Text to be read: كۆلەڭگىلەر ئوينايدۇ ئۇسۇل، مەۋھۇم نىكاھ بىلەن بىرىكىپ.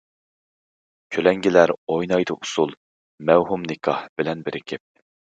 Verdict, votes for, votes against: accepted, 2, 0